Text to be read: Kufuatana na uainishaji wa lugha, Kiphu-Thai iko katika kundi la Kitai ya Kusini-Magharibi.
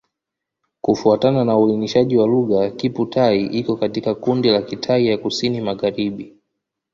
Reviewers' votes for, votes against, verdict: 2, 1, accepted